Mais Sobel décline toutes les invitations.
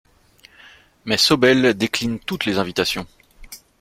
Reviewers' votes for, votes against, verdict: 2, 0, accepted